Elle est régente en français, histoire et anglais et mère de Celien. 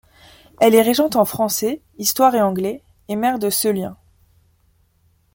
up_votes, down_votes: 2, 0